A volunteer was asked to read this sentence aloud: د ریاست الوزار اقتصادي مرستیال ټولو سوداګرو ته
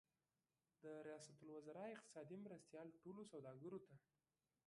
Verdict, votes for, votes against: rejected, 1, 2